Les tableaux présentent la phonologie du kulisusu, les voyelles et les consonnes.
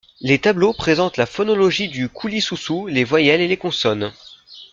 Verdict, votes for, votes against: accepted, 2, 0